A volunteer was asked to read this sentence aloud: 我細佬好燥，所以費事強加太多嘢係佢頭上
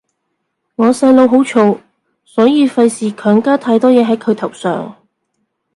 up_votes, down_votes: 2, 0